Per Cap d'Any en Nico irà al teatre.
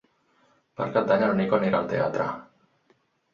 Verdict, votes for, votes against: rejected, 2, 4